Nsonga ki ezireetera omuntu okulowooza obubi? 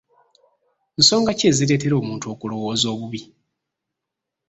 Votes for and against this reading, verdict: 0, 2, rejected